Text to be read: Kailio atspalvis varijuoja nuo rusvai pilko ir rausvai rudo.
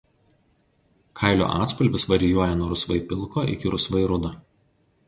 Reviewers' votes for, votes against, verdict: 0, 2, rejected